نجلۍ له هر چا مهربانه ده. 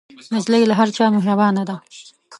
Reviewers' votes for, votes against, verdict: 2, 1, accepted